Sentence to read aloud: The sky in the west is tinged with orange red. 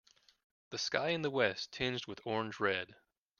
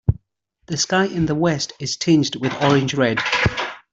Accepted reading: second